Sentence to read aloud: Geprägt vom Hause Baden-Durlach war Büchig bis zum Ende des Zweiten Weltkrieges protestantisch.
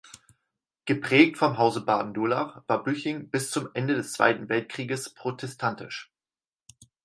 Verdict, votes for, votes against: rejected, 2, 4